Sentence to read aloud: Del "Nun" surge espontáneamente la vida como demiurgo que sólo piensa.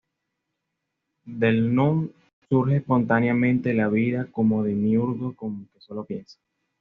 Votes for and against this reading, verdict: 2, 0, accepted